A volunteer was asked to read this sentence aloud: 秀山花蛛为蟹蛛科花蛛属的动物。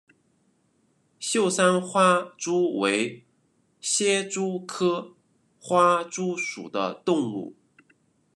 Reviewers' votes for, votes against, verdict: 0, 2, rejected